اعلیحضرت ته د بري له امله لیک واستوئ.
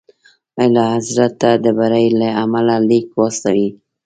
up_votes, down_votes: 2, 1